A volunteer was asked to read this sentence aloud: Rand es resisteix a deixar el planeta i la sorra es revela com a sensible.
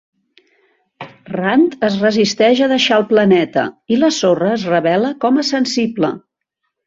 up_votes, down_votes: 2, 0